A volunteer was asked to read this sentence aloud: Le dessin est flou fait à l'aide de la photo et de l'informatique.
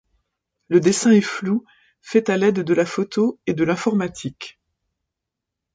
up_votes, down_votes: 2, 0